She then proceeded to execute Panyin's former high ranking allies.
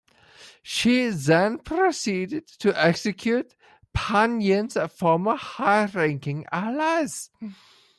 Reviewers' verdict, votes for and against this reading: rejected, 0, 2